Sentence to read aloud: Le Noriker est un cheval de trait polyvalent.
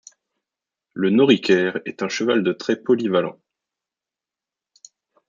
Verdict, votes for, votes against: accepted, 2, 0